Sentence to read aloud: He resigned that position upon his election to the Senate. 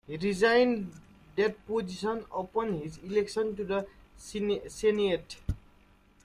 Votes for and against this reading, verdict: 0, 2, rejected